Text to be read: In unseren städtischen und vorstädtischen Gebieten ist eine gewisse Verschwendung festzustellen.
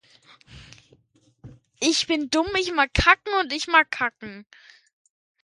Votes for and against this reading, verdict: 0, 2, rejected